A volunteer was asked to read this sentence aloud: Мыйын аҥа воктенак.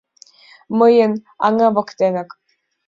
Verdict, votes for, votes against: accepted, 2, 0